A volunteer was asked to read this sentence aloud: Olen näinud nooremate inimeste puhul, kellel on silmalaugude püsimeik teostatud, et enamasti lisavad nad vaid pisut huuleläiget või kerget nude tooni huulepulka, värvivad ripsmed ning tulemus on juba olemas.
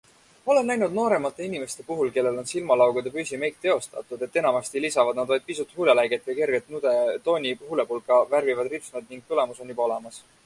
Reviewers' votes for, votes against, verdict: 2, 0, accepted